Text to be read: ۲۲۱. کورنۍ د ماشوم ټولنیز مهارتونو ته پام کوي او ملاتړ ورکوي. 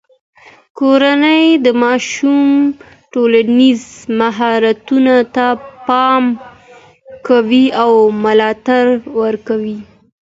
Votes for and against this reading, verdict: 0, 2, rejected